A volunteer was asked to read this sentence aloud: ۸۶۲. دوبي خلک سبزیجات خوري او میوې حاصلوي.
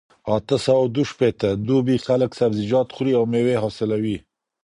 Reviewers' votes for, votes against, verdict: 0, 2, rejected